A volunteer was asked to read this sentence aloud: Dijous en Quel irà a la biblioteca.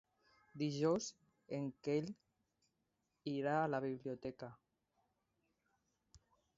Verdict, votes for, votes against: rejected, 1, 2